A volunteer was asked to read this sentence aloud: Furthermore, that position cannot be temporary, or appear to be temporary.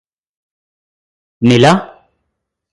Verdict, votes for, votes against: rejected, 0, 4